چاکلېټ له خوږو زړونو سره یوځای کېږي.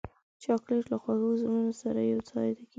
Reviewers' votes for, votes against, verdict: 1, 2, rejected